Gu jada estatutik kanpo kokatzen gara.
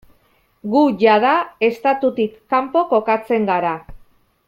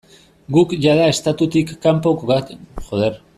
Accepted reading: first